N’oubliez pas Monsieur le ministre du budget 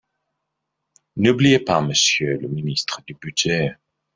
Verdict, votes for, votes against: rejected, 1, 2